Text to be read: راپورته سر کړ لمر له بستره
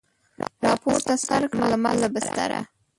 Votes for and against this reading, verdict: 1, 2, rejected